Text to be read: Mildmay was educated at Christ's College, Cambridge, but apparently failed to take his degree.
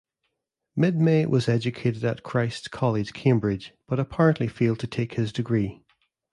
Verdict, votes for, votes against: accepted, 2, 0